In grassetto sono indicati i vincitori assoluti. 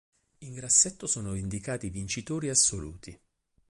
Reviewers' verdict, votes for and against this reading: accepted, 4, 0